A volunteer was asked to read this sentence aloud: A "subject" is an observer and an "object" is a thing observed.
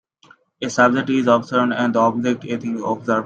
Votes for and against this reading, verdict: 0, 2, rejected